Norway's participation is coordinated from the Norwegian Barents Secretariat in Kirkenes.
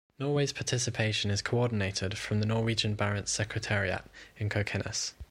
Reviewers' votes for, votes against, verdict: 1, 2, rejected